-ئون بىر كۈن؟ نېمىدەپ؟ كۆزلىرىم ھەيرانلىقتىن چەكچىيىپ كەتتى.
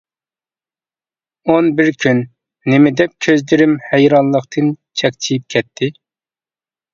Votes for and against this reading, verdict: 2, 0, accepted